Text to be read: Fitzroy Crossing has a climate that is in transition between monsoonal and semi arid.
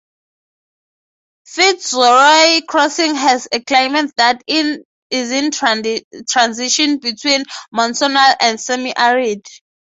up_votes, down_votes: 3, 3